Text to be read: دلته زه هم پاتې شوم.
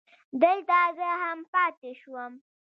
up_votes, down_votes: 2, 1